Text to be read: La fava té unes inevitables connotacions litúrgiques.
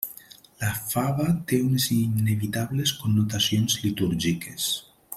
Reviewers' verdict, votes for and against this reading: accepted, 3, 0